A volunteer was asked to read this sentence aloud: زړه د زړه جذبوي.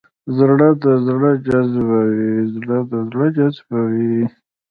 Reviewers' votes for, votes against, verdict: 1, 2, rejected